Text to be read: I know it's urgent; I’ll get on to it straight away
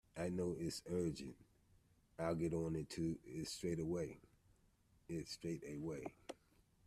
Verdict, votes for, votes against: rejected, 0, 2